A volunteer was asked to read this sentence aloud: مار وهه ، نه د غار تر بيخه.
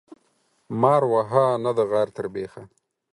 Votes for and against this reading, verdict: 4, 0, accepted